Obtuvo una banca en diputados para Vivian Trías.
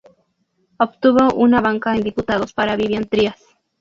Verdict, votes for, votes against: rejected, 0, 4